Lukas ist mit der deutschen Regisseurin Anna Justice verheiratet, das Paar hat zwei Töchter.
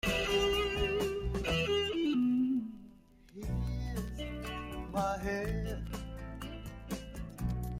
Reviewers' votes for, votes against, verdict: 0, 2, rejected